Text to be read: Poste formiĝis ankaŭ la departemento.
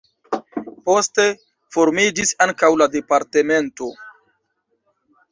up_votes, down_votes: 2, 1